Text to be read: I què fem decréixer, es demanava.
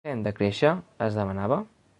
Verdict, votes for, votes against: rejected, 1, 2